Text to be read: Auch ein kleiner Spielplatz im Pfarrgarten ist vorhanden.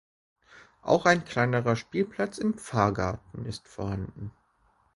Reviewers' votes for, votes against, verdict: 1, 2, rejected